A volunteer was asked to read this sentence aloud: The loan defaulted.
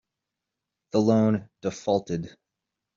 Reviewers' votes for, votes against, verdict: 2, 0, accepted